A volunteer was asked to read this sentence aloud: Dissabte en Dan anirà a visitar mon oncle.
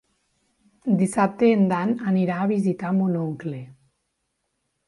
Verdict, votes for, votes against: accepted, 3, 0